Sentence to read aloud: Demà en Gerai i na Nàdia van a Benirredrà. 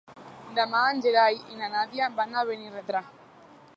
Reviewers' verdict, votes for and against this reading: rejected, 1, 2